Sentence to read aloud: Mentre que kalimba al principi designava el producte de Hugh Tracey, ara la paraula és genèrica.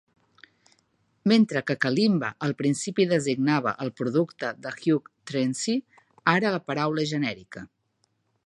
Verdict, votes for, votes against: accepted, 2, 1